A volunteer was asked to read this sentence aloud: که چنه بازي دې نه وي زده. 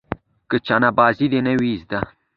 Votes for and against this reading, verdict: 2, 0, accepted